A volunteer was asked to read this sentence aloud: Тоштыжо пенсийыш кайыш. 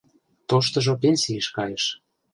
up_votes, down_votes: 2, 0